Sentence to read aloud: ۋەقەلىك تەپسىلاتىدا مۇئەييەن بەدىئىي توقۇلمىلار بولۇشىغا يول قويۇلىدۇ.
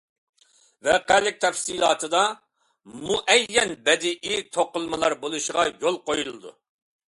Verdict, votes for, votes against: accepted, 2, 0